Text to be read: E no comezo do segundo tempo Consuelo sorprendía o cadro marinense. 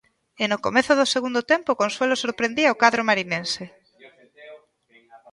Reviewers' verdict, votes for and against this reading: rejected, 1, 2